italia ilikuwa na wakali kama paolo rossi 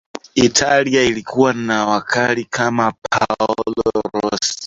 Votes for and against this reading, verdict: 0, 2, rejected